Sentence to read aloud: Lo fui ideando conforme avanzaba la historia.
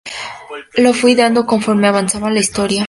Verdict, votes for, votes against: accepted, 2, 0